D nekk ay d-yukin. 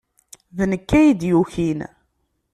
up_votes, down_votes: 2, 0